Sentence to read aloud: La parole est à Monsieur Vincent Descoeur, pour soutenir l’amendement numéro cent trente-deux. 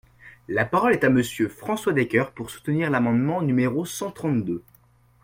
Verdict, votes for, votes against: rejected, 0, 2